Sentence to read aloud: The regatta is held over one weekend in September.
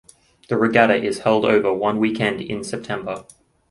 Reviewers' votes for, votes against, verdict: 2, 0, accepted